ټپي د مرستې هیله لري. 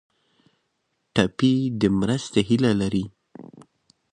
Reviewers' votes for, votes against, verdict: 2, 0, accepted